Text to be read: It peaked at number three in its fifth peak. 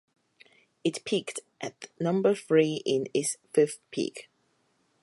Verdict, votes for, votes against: accepted, 4, 0